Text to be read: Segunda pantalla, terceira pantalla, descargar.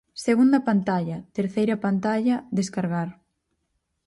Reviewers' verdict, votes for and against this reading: accepted, 4, 0